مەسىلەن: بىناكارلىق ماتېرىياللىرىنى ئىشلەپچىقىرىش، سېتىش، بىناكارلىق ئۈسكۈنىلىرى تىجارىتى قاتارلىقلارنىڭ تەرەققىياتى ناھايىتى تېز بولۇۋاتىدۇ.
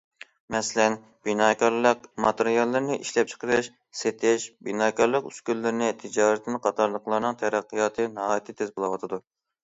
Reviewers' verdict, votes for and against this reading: rejected, 1, 2